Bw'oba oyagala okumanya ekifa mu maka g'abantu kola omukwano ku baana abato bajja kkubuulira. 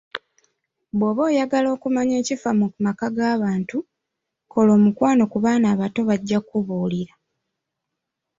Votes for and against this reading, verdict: 1, 2, rejected